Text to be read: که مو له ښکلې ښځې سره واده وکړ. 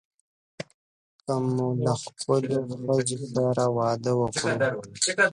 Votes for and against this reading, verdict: 0, 2, rejected